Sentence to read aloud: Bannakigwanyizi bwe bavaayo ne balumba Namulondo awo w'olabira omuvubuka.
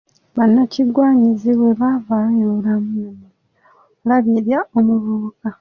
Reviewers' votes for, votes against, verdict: 0, 2, rejected